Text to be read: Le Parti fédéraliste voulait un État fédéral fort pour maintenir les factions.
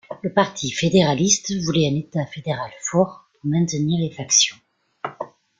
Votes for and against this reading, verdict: 2, 1, accepted